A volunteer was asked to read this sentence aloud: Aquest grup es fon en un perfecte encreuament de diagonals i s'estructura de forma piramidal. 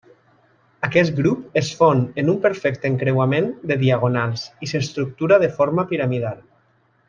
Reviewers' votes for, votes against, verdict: 2, 0, accepted